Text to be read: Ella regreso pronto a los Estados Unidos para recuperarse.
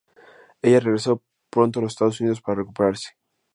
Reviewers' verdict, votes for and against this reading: accepted, 2, 0